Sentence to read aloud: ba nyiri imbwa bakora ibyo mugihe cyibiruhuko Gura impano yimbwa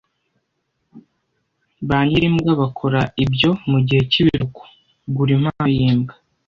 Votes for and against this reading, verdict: 1, 2, rejected